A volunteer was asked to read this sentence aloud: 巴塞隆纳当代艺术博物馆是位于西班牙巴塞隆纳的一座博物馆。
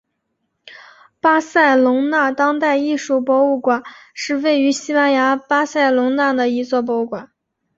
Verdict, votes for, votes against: accepted, 2, 0